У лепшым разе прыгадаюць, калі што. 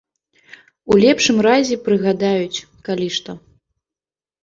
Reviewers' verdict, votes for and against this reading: rejected, 1, 2